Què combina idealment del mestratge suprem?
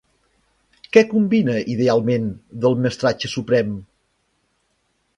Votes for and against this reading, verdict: 3, 0, accepted